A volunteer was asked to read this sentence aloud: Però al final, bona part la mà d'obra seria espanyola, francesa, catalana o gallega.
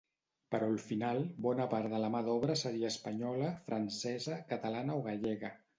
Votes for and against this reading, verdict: 1, 2, rejected